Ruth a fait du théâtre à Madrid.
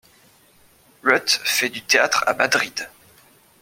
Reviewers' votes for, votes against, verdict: 1, 2, rejected